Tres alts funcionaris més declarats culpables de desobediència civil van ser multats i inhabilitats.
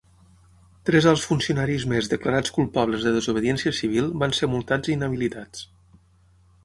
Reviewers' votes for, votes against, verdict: 6, 0, accepted